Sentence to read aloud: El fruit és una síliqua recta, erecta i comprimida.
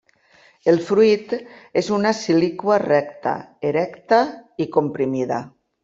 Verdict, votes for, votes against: rejected, 1, 2